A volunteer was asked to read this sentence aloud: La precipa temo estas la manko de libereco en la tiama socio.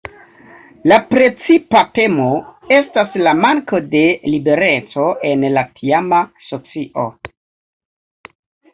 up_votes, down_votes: 2, 0